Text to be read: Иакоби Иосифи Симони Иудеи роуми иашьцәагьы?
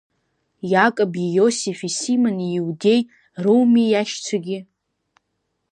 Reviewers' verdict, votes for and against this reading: accepted, 3, 0